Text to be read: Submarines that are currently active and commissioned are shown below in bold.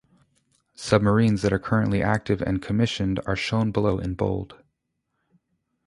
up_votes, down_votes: 2, 0